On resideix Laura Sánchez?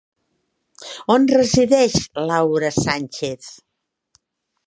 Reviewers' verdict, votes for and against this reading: accepted, 3, 0